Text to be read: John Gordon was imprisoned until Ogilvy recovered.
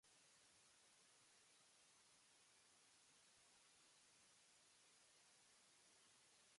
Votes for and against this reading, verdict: 0, 3, rejected